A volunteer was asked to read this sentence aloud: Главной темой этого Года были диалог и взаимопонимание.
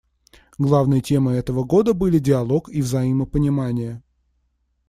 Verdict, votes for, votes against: accepted, 2, 0